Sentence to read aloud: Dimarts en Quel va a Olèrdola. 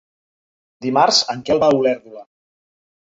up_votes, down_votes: 1, 2